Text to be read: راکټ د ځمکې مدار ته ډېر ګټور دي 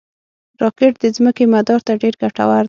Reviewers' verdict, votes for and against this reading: rejected, 0, 6